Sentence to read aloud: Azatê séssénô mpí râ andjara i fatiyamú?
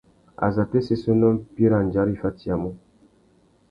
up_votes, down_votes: 2, 0